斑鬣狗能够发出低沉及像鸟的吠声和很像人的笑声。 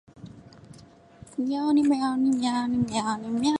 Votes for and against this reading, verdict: 0, 4, rejected